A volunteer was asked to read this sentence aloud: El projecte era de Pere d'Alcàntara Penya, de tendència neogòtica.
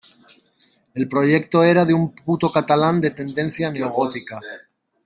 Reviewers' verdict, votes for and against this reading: rejected, 0, 2